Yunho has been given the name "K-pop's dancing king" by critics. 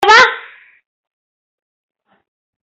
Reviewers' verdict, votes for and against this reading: rejected, 0, 3